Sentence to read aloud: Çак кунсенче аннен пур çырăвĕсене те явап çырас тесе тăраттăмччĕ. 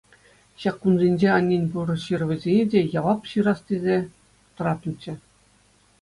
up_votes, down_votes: 2, 0